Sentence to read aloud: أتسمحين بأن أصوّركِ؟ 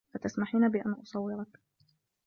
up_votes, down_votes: 1, 2